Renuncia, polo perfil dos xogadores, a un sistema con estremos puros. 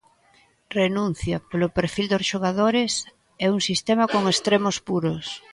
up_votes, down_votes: 0, 2